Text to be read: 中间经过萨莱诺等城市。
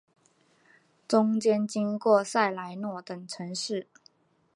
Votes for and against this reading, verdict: 4, 0, accepted